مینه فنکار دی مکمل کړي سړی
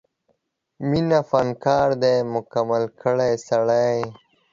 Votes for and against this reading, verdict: 0, 2, rejected